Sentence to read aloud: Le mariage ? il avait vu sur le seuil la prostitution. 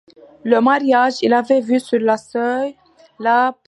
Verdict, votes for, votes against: rejected, 0, 2